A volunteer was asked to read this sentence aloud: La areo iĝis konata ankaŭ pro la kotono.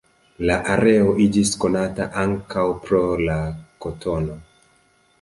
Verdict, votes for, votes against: accepted, 2, 0